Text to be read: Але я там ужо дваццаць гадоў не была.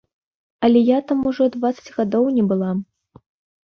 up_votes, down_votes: 3, 0